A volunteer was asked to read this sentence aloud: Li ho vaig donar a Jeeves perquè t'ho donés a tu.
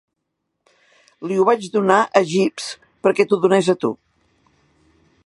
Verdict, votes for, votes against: accepted, 3, 0